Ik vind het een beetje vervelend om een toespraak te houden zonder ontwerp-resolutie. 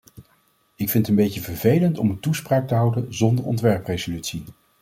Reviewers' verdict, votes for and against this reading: rejected, 1, 2